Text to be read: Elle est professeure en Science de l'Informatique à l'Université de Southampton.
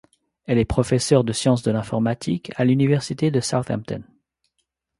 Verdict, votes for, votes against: accepted, 2, 0